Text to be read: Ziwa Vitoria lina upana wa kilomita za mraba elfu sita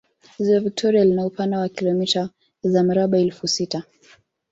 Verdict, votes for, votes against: accepted, 4, 0